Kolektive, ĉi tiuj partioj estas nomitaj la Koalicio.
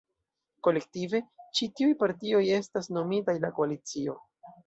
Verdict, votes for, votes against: accepted, 2, 0